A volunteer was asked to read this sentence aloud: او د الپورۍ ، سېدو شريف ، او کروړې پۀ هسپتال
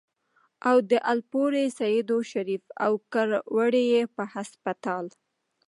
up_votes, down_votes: 1, 2